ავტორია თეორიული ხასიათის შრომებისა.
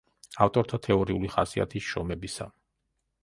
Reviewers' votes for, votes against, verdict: 0, 2, rejected